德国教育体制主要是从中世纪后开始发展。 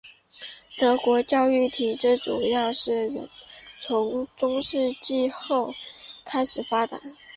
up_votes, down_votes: 8, 0